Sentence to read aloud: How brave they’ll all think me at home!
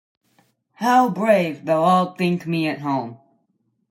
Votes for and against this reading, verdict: 2, 0, accepted